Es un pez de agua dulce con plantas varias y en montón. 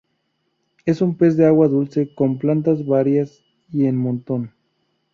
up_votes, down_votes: 2, 0